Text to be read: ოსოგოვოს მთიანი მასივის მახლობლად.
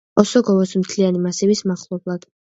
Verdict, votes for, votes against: accepted, 2, 1